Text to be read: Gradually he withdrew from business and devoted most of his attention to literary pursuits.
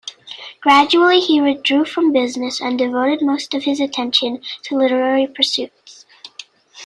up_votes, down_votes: 2, 0